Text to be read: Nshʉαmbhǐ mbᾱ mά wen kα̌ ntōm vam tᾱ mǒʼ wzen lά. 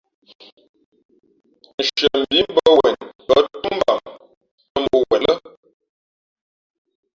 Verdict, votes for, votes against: rejected, 1, 2